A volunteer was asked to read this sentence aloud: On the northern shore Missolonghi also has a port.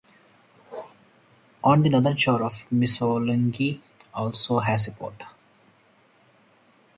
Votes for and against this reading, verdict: 0, 4, rejected